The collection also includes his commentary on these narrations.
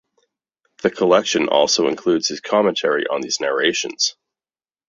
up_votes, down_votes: 2, 0